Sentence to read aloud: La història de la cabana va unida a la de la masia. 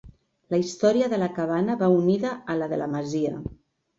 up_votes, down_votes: 3, 0